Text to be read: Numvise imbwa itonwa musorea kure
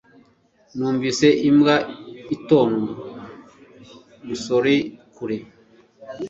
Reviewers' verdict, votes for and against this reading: accepted, 2, 1